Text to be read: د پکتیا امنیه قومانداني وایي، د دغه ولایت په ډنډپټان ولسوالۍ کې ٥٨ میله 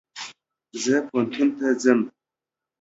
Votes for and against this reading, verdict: 0, 2, rejected